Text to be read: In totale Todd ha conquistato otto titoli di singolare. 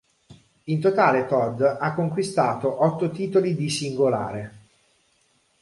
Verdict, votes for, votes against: accepted, 2, 0